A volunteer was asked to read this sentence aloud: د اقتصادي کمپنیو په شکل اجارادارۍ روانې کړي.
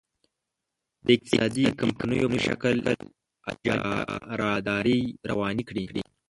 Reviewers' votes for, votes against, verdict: 1, 2, rejected